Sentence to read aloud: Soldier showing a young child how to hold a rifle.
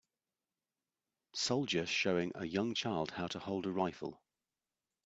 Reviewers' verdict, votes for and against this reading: rejected, 1, 2